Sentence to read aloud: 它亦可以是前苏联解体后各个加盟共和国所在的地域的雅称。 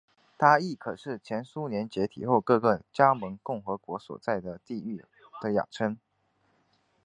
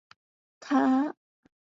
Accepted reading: first